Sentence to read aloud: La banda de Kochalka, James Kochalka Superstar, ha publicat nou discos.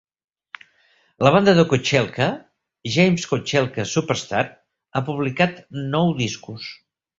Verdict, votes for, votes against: rejected, 1, 2